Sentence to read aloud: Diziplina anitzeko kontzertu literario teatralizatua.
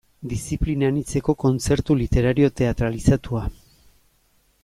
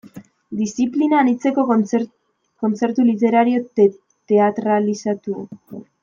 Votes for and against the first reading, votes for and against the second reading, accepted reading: 2, 0, 0, 2, first